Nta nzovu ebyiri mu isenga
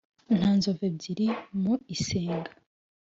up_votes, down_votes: 3, 0